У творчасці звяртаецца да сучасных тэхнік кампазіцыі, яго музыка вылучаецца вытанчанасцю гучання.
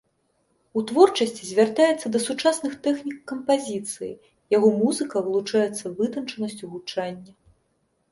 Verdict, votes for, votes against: accepted, 2, 0